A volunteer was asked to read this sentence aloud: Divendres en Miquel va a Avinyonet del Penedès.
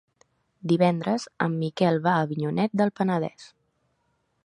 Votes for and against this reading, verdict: 3, 0, accepted